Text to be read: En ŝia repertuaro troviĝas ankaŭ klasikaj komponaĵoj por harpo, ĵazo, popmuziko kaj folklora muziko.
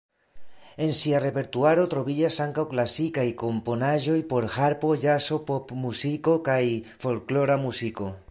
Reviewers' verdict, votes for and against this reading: accepted, 2, 0